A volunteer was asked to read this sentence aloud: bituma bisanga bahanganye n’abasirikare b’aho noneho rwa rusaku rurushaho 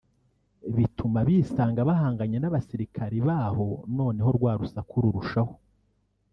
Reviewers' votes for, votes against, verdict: 1, 2, rejected